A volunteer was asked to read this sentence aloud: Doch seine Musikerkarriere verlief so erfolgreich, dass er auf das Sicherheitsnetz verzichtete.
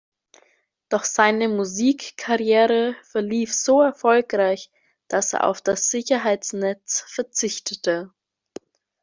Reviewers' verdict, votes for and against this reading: rejected, 0, 2